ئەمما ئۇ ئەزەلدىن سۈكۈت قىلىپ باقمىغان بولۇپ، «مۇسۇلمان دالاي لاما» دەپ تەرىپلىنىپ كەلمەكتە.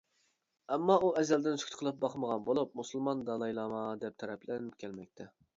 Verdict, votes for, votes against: rejected, 0, 2